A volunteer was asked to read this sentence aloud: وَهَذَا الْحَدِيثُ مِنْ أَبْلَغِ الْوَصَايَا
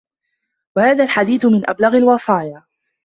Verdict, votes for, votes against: accepted, 2, 1